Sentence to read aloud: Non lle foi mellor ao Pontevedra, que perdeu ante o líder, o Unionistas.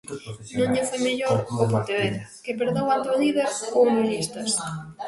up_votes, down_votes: 0, 2